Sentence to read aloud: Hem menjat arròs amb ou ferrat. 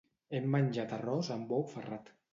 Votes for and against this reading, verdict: 2, 0, accepted